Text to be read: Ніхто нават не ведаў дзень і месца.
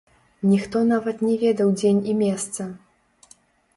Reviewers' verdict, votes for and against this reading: rejected, 0, 2